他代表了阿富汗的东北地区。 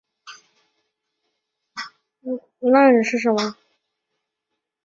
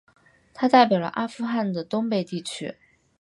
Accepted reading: second